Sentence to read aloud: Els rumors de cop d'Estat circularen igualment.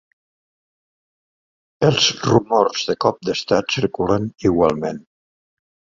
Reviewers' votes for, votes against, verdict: 1, 2, rejected